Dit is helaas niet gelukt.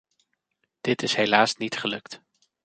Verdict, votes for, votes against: accepted, 2, 0